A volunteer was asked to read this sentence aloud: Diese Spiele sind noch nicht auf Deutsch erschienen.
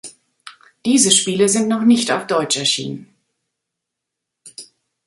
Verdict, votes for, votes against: accepted, 2, 0